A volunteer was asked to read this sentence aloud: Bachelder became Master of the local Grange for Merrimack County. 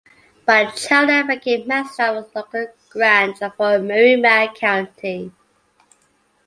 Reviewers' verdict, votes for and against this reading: rejected, 0, 2